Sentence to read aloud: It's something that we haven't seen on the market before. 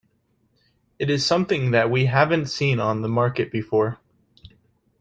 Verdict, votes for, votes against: rejected, 1, 2